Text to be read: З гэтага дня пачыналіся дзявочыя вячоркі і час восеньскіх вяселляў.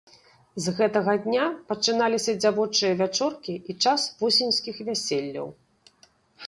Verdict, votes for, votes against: accepted, 2, 0